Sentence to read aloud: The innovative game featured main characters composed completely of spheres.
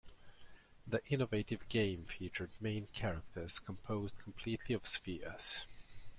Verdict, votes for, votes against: accepted, 2, 0